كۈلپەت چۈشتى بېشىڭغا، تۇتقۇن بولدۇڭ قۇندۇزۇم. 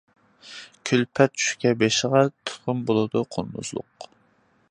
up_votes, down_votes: 0, 2